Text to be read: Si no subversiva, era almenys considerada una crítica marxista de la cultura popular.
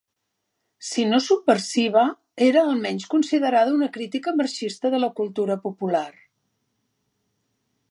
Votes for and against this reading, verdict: 2, 0, accepted